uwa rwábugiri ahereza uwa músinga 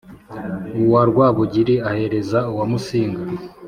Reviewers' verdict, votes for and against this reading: accepted, 3, 0